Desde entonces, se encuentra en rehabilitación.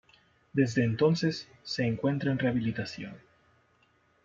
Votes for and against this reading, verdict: 0, 2, rejected